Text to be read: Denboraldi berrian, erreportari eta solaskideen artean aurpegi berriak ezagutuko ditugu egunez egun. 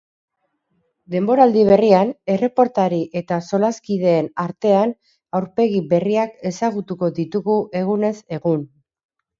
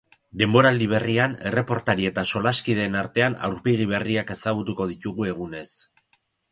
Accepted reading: first